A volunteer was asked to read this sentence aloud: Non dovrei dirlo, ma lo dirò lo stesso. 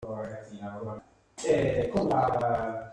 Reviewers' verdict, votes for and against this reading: rejected, 0, 2